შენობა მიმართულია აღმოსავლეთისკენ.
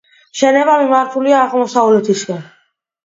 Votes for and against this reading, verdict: 2, 0, accepted